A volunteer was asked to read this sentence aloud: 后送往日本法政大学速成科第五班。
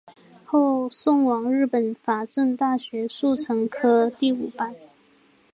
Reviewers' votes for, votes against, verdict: 3, 0, accepted